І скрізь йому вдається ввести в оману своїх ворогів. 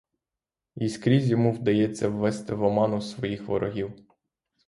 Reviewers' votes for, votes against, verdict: 3, 0, accepted